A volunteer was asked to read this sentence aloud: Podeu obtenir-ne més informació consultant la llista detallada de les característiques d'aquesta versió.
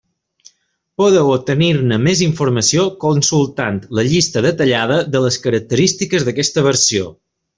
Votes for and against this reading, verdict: 2, 0, accepted